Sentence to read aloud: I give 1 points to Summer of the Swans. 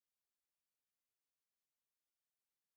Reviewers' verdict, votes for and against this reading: rejected, 0, 2